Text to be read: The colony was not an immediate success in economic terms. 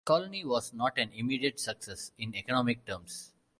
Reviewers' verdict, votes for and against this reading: rejected, 1, 2